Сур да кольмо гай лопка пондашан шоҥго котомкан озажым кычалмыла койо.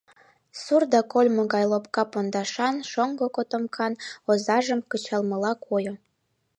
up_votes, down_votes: 0, 2